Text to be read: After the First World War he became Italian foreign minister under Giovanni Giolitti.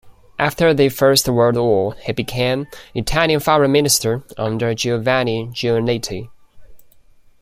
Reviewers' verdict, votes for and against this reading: rejected, 1, 2